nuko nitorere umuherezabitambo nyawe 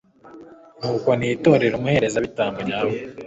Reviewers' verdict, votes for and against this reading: accepted, 2, 0